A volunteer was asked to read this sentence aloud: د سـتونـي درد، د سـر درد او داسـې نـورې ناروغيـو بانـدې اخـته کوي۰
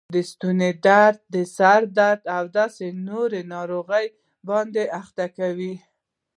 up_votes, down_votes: 0, 2